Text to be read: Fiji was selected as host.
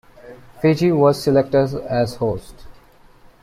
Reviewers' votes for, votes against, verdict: 1, 2, rejected